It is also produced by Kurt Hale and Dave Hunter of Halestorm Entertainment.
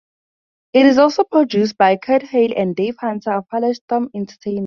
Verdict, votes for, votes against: rejected, 0, 2